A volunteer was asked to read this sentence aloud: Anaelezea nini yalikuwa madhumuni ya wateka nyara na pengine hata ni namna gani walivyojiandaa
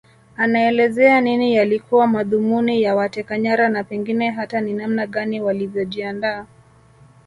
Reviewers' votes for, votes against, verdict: 1, 2, rejected